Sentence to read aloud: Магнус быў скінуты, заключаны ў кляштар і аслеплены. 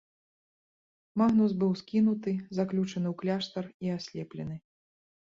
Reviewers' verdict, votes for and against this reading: accepted, 2, 1